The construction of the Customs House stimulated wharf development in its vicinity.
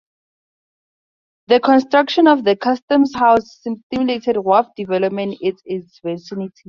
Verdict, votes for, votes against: rejected, 0, 2